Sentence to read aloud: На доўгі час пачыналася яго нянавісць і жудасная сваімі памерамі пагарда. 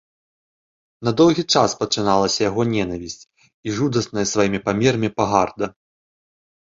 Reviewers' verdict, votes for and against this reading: accepted, 2, 1